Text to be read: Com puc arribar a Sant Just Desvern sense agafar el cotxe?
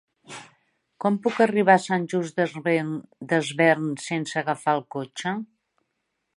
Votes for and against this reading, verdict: 0, 2, rejected